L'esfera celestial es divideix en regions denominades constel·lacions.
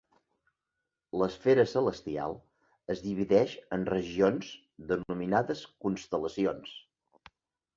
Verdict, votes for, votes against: accepted, 3, 0